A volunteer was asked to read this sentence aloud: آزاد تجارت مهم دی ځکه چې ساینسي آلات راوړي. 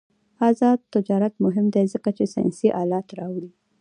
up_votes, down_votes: 1, 2